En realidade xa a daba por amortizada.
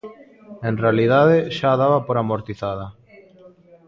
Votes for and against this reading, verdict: 2, 0, accepted